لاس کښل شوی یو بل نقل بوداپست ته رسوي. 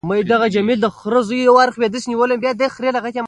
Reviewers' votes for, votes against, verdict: 0, 2, rejected